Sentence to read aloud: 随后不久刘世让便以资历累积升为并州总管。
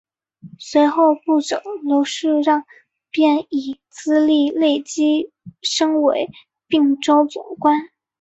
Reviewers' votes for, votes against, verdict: 0, 3, rejected